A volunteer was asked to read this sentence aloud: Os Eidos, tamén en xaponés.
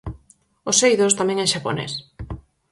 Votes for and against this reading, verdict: 4, 0, accepted